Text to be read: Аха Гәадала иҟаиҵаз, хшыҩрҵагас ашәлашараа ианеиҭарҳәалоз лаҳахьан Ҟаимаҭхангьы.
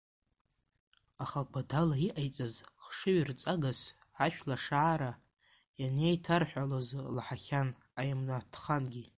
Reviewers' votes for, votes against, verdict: 0, 2, rejected